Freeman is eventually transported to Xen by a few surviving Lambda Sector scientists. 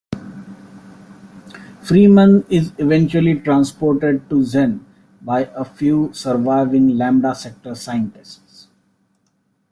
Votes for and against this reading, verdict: 0, 2, rejected